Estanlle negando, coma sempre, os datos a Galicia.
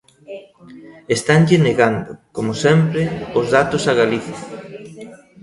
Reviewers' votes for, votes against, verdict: 0, 2, rejected